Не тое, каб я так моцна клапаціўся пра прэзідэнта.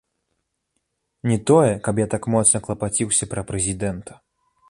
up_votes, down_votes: 2, 1